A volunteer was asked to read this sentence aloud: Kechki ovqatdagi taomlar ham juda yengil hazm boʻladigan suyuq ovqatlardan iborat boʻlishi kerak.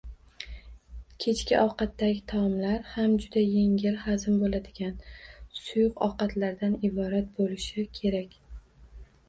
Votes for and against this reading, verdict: 2, 0, accepted